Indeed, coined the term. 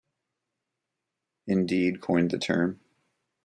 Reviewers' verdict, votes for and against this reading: accepted, 2, 1